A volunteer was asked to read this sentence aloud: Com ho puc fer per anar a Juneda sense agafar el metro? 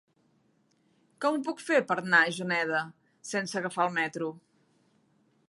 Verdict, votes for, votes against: rejected, 1, 2